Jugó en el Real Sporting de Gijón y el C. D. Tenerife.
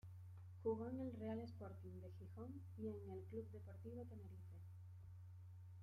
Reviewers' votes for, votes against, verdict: 0, 2, rejected